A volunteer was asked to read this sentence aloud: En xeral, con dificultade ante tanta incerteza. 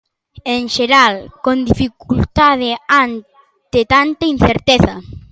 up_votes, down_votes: 1, 2